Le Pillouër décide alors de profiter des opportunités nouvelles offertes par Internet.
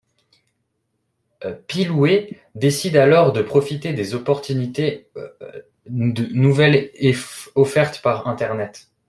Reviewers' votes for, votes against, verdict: 0, 2, rejected